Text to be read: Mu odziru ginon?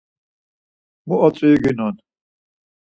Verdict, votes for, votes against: accepted, 4, 0